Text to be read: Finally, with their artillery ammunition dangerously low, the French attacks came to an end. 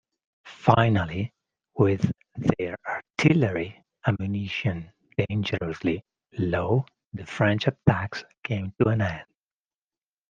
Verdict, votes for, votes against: rejected, 1, 2